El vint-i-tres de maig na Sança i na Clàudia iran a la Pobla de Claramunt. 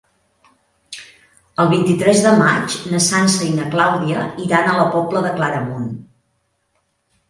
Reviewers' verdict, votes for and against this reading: accepted, 2, 0